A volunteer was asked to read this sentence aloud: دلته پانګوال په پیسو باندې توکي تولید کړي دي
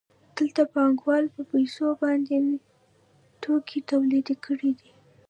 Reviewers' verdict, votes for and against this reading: accepted, 2, 0